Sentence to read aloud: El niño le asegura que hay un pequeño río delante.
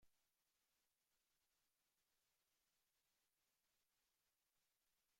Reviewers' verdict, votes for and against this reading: rejected, 0, 2